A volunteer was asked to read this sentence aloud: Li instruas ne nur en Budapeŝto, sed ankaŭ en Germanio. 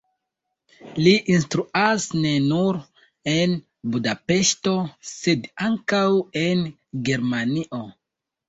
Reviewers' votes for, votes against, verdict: 2, 0, accepted